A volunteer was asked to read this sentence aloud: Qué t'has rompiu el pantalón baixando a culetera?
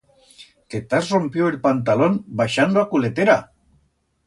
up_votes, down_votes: 2, 0